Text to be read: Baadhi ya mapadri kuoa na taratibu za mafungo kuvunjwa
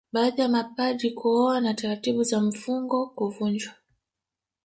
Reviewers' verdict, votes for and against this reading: rejected, 1, 2